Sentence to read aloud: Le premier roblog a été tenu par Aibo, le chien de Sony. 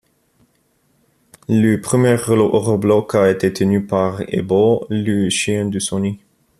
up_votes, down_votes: 0, 2